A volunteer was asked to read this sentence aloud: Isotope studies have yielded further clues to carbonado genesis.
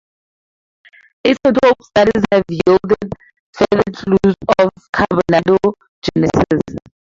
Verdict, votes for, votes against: rejected, 2, 4